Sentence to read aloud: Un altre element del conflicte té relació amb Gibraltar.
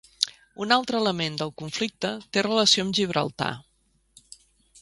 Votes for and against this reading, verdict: 2, 0, accepted